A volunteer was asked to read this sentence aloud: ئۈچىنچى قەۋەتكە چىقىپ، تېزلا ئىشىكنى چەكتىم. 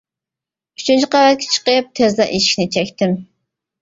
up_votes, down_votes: 1, 2